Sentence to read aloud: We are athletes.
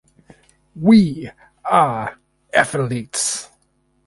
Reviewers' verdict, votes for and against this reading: rejected, 2, 2